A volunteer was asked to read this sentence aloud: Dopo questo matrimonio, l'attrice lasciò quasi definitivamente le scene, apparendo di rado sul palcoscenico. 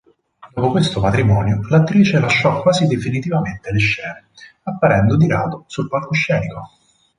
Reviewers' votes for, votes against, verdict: 2, 2, rejected